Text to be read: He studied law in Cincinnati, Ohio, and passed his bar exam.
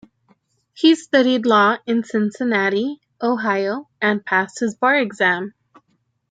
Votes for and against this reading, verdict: 1, 2, rejected